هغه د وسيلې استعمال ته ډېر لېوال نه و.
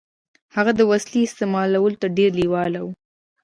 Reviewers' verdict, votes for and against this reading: rejected, 1, 2